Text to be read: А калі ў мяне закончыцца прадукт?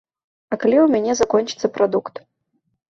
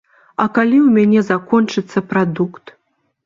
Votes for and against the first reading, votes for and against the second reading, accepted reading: 0, 3, 2, 0, second